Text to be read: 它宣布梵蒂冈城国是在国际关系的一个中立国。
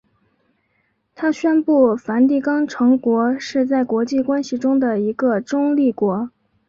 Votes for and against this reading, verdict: 2, 1, accepted